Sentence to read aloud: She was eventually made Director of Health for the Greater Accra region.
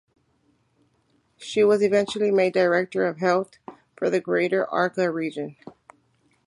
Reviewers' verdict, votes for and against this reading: accepted, 2, 0